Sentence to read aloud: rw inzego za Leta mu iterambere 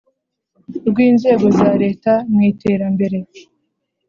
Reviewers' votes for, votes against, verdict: 2, 0, accepted